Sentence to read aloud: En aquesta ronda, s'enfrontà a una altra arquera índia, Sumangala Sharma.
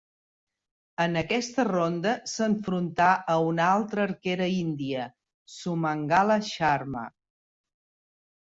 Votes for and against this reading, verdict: 3, 0, accepted